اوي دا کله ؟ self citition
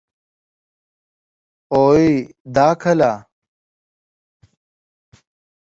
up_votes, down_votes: 14, 7